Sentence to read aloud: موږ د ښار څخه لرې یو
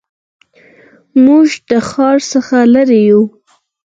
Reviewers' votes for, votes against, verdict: 6, 0, accepted